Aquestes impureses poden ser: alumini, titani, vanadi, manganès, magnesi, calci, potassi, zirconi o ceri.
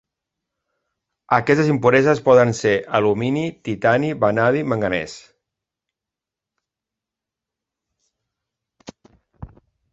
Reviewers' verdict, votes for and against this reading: rejected, 0, 2